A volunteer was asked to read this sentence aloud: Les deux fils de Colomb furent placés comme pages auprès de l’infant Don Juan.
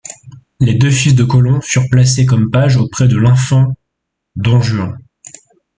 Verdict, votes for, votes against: rejected, 1, 2